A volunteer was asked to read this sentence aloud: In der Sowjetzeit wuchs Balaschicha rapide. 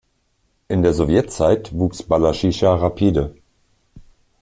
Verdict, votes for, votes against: rejected, 0, 2